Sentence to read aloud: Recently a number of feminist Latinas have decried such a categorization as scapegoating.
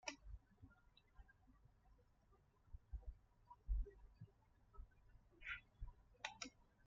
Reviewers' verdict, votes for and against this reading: rejected, 0, 2